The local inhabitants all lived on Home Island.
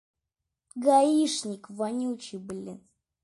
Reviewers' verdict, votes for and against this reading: rejected, 0, 2